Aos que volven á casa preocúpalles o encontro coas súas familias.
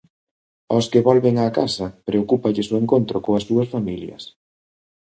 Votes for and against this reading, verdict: 2, 0, accepted